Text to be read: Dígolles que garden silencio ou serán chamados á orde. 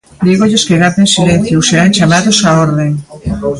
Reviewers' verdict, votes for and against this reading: rejected, 1, 2